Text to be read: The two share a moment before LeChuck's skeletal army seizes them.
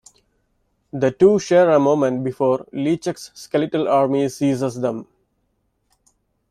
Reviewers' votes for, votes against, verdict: 2, 0, accepted